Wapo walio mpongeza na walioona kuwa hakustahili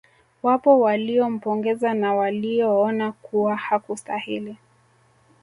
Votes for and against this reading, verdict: 2, 1, accepted